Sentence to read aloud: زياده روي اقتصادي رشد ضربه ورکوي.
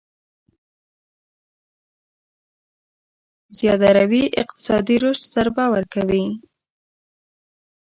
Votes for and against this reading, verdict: 4, 5, rejected